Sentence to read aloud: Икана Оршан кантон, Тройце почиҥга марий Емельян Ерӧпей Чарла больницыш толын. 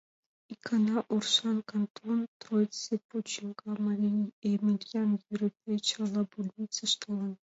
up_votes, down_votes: 1, 2